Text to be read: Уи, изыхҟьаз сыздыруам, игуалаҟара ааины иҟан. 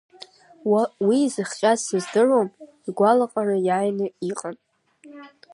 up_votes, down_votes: 1, 2